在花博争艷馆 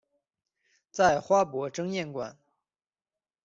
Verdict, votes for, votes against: accepted, 2, 0